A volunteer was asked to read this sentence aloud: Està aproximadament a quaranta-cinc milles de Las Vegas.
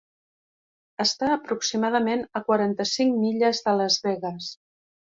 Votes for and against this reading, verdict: 3, 0, accepted